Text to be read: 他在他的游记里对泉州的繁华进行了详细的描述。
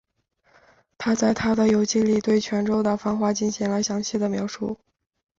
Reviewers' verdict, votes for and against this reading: accepted, 3, 0